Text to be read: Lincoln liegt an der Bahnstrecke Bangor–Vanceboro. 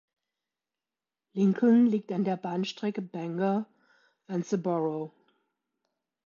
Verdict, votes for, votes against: rejected, 1, 2